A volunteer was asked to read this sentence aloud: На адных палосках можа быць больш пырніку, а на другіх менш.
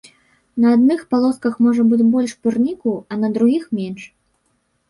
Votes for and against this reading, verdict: 0, 2, rejected